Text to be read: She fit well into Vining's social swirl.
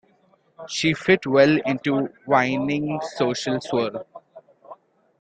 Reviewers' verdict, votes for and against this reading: accepted, 2, 1